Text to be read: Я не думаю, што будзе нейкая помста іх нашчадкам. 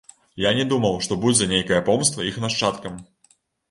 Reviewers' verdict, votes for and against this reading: rejected, 0, 2